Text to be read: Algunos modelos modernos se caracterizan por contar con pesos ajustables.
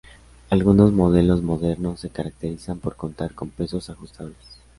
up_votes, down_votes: 2, 0